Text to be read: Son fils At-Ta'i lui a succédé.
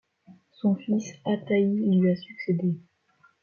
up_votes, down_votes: 0, 2